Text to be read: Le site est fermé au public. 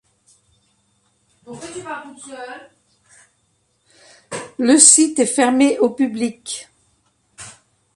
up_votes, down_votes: 0, 2